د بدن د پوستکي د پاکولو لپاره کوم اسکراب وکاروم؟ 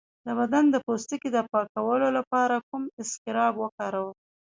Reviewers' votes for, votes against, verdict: 1, 2, rejected